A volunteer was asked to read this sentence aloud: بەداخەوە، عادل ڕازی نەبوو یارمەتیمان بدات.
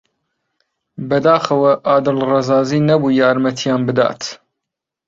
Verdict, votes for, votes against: rejected, 1, 3